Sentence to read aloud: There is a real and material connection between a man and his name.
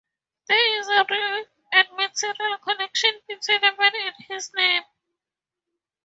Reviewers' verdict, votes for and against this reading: accepted, 2, 0